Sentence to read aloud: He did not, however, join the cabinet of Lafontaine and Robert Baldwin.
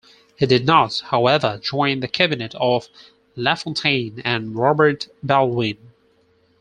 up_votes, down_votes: 4, 0